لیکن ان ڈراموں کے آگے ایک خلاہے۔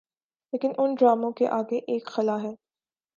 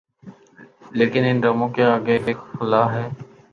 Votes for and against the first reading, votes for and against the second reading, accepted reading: 3, 0, 0, 2, first